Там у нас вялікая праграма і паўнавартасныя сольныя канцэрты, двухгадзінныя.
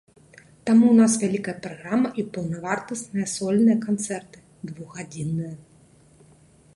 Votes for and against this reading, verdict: 2, 0, accepted